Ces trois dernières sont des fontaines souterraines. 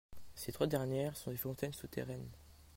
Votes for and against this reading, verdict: 2, 0, accepted